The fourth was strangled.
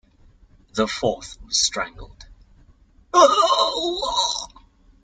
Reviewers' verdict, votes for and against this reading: rejected, 0, 2